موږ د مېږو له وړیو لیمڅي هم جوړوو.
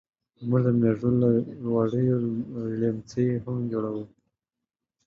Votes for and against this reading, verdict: 1, 3, rejected